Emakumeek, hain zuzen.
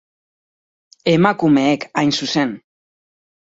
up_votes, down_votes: 4, 0